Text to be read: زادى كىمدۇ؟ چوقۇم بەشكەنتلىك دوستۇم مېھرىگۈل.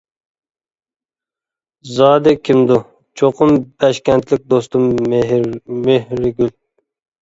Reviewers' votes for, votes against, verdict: 0, 2, rejected